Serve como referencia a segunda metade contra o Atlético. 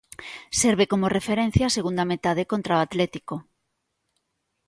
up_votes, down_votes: 2, 0